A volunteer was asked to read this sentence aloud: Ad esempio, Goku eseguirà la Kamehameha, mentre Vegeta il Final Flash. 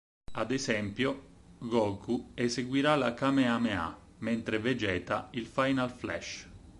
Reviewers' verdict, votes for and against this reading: accepted, 4, 0